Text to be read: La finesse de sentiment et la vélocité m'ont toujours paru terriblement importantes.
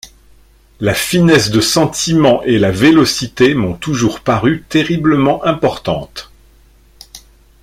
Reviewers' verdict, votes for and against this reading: accepted, 2, 0